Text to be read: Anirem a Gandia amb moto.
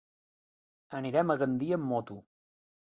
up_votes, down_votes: 2, 0